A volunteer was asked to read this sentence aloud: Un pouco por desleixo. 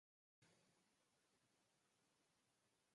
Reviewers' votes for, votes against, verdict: 0, 2, rejected